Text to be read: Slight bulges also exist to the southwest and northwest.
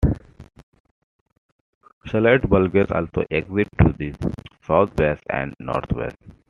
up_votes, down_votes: 2, 1